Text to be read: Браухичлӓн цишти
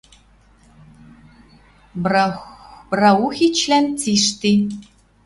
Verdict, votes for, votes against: rejected, 0, 2